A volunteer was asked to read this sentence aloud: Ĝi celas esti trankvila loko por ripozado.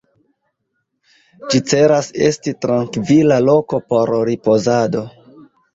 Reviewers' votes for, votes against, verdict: 2, 1, accepted